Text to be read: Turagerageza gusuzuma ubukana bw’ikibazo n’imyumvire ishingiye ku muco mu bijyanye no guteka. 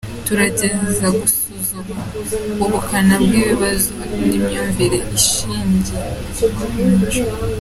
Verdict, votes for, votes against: rejected, 1, 3